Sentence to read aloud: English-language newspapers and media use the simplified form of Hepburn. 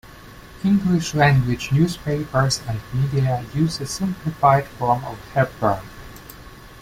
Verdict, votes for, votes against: accepted, 2, 0